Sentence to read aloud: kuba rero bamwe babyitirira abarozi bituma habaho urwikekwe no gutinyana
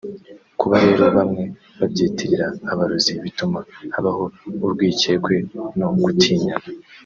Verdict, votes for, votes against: accepted, 2, 0